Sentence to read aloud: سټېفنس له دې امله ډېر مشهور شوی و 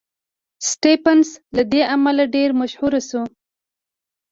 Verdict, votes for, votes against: rejected, 1, 2